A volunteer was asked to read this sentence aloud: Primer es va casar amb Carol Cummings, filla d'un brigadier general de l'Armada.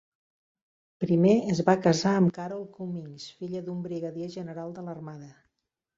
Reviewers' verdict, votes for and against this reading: accepted, 3, 1